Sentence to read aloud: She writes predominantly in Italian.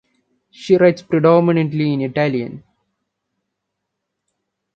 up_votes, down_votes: 2, 1